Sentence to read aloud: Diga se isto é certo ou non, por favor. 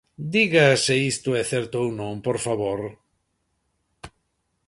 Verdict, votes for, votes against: accepted, 2, 0